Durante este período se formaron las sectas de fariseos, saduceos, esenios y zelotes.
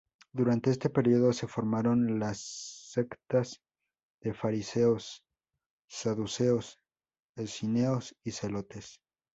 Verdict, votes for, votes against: accepted, 2, 0